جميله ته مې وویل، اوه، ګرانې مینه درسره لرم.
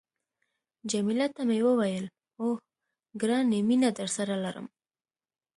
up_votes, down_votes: 2, 0